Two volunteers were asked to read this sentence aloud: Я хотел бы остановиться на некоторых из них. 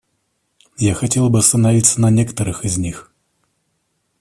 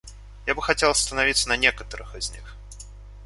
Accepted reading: first